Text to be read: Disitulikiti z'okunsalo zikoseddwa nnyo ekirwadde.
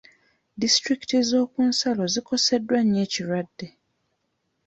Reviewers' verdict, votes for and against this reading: accepted, 2, 1